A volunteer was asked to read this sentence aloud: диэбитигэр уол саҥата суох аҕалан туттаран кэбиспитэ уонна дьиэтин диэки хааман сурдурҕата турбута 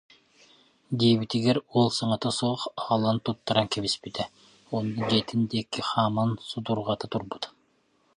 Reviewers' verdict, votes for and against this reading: rejected, 0, 2